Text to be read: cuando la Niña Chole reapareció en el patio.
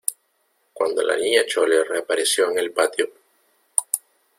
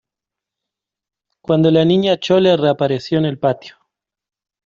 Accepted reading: second